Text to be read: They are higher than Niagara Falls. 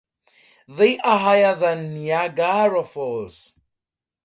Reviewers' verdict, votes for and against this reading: rejected, 0, 4